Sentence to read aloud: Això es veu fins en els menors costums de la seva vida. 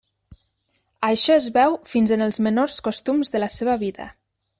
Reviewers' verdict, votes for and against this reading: accepted, 3, 0